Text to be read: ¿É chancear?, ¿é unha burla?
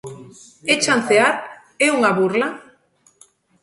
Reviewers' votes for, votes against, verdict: 2, 0, accepted